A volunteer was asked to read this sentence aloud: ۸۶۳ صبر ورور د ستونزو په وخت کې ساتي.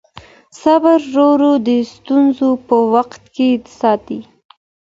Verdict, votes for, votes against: rejected, 0, 2